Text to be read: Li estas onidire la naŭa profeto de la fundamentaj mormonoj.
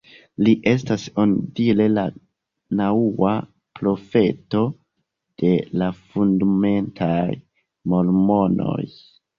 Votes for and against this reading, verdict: 1, 2, rejected